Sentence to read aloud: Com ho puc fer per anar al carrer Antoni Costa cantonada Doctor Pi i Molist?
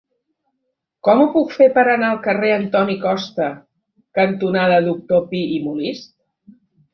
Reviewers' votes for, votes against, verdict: 4, 0, accepted